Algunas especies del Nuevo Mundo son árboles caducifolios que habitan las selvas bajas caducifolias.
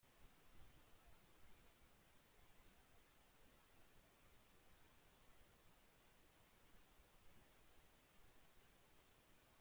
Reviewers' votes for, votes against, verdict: 0, 2, rejected